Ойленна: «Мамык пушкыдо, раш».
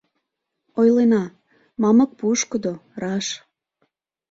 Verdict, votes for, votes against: rejected, 0, 2